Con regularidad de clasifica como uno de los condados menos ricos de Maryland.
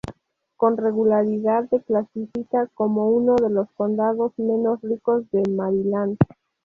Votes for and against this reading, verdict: 0, 2, rejected